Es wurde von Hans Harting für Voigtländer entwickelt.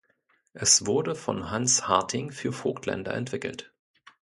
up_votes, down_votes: 1, 2